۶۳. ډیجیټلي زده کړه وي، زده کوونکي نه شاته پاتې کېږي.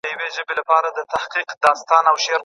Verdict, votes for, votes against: rejected, 0, 2